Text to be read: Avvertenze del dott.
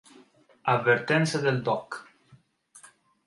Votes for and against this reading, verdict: 2, 1, accepted